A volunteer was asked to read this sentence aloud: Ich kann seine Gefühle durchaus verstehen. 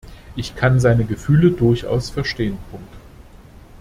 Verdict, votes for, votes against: rejected, 0, 2